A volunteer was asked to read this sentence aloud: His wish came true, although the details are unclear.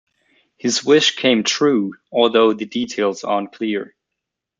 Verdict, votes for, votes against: accepted, 2, 0